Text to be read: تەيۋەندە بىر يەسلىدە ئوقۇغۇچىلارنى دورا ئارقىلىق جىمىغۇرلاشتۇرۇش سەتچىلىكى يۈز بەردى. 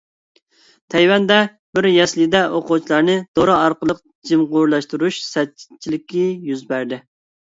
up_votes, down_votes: 2, 0